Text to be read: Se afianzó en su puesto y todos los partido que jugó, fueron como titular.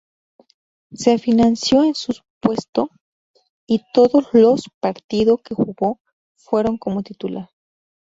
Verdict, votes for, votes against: rejected, 0, 2